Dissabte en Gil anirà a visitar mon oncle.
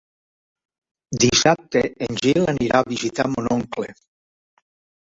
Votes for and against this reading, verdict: 2, 1, accepted